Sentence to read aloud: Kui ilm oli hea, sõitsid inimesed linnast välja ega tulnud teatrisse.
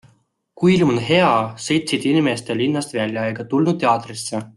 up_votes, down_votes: 2, 0